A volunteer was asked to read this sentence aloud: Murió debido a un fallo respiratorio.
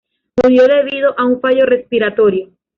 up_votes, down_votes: 1, 2